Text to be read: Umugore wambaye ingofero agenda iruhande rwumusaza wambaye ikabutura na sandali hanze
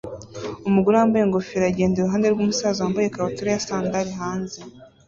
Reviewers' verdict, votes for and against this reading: accepted, 2, 0